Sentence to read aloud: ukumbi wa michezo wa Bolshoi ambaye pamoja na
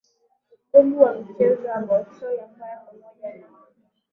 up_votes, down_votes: 3, 4